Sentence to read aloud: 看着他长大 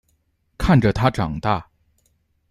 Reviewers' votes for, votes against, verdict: 2, 0, accepted